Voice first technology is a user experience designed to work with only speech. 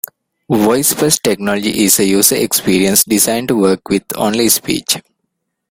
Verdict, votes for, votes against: rejected, 1, 2